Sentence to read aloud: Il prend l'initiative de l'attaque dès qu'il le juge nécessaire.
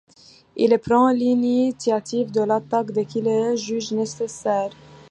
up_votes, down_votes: 2, 0